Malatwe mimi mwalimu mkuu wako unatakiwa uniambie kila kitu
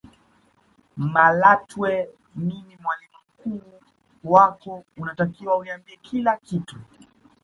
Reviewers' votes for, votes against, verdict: 1, 2, rejected